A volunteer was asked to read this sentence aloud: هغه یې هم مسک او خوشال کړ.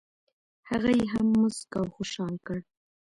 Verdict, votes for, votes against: accepted, 2, 0